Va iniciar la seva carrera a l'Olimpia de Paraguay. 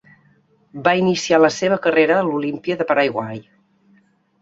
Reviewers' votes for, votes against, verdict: 1, 2, rejected